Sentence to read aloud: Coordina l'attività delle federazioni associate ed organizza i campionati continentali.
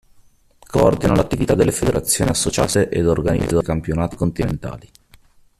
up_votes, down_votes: 1, 2